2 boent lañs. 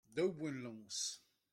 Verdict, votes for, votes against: rejected, 0, 2